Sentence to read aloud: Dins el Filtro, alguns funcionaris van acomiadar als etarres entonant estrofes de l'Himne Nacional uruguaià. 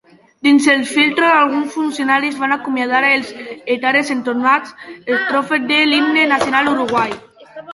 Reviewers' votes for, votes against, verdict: 2, 3, rejected